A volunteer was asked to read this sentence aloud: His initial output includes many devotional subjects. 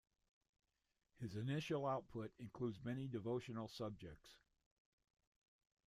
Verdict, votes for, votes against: accepted, 2, 1